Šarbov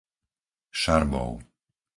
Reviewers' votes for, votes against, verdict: 4, 0, accepted